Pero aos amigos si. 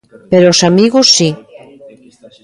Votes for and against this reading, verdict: 2, 0, accepted